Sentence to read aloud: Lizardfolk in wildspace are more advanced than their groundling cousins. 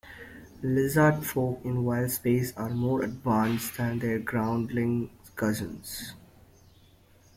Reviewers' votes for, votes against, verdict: 2, 0, accepted